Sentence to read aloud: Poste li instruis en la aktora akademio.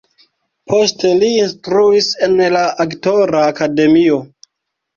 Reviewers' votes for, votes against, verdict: 0, 2, rejected